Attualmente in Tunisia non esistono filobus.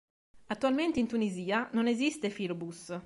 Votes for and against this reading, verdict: 1, 4, rejected